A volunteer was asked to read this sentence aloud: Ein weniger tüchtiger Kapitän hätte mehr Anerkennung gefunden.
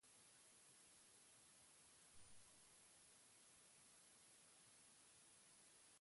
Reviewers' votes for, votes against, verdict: 0, 4, rejected